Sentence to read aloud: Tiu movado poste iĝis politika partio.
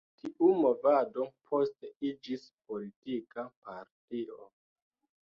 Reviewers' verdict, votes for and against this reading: accepted, 2, 0